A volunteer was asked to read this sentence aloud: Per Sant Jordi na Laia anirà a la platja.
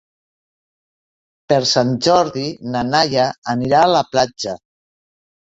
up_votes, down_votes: 0, 2